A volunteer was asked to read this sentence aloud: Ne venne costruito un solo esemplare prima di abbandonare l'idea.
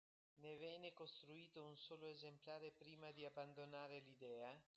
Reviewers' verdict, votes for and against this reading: rejected, 1, 2